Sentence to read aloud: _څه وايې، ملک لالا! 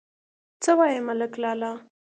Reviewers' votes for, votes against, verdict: 2, 0, accepted